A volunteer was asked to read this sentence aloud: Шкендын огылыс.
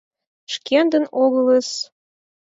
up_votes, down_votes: 4, 0